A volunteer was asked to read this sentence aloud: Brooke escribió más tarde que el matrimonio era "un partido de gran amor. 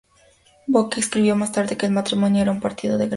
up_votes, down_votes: 0, 4